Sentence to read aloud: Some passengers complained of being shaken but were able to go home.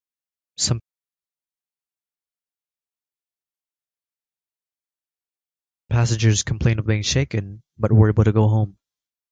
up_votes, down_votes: 0, 2